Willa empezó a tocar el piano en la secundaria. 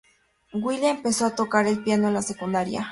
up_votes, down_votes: 0, 2